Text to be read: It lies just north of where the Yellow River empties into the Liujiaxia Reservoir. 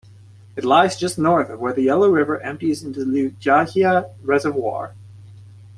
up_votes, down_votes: 2, 0